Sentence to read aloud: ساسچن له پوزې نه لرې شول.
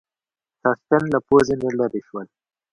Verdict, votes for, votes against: accepted, 2, 1